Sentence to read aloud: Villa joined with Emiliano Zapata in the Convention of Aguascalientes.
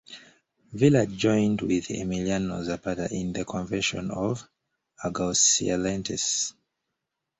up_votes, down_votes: 2, 1